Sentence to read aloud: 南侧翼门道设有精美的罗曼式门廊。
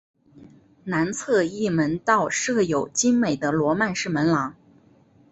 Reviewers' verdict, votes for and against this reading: accepted, 4, 0